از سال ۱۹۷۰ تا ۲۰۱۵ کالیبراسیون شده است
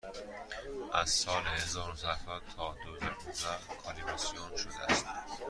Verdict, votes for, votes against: rejected, 0, 2